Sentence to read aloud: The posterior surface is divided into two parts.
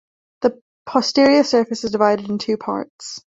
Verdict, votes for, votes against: rejected, 1, 2